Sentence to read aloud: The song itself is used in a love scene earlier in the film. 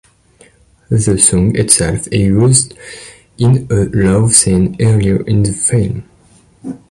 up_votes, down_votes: 0, 2